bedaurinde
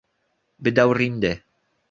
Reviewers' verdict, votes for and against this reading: accepted, 2, 0